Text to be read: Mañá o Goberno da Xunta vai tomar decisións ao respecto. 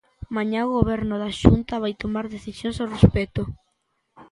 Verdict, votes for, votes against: accepted, 2, 0